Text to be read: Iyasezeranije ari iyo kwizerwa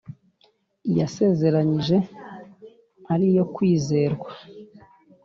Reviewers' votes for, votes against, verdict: 2, 0, accepted